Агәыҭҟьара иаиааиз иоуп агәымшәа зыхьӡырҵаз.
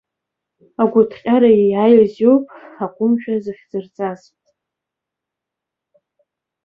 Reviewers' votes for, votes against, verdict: 2, 0, accepted